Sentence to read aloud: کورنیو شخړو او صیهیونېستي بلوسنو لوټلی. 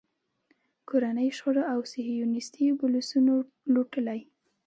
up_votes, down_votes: 2, 0